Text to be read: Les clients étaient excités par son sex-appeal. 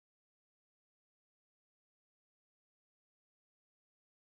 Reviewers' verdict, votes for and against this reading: rejected, 0, 4